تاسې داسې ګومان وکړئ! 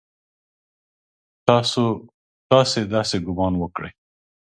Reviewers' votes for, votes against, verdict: 0, 2, rejected